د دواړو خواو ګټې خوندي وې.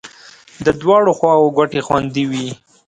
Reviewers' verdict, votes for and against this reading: accepted, 2, 0